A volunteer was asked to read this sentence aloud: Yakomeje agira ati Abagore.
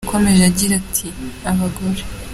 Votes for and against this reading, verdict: 2, 0, accepted